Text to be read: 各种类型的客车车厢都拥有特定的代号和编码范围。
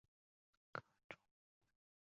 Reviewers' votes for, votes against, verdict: 0, 2, rejected